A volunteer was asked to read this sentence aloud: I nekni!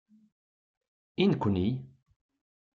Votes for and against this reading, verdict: 2, 0, accepted